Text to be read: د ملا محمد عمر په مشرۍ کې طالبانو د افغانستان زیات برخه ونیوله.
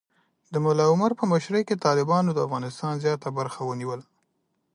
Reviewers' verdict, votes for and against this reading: accepted, 2, 0